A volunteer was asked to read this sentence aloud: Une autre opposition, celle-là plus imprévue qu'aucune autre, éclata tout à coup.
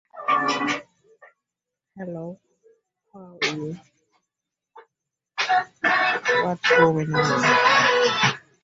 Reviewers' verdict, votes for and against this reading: rejected, 0, 2